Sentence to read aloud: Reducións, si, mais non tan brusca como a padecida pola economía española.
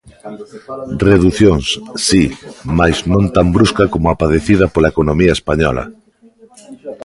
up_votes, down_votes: 0, 2